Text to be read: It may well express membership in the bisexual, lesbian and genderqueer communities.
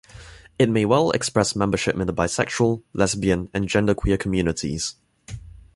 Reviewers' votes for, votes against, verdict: 2, 1, accepted